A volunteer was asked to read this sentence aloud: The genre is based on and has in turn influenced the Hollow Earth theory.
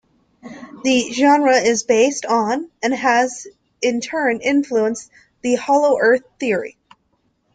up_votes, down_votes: 2, 0